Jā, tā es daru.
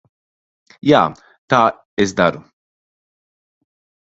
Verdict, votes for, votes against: accepted, 2, 0